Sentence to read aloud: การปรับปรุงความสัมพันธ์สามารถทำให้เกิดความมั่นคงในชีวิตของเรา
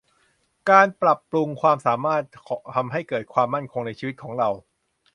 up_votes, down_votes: 1, 2